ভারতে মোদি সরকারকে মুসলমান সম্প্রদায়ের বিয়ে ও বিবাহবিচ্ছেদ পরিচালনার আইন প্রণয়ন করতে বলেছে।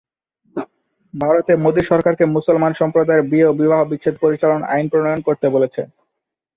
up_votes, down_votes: 2, 1